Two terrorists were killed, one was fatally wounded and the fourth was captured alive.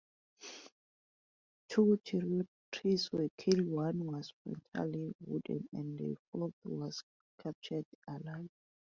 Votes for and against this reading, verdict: 0, 2, rejected